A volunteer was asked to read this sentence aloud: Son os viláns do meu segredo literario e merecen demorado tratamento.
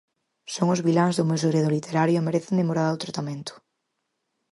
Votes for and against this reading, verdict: 4, 2, accepted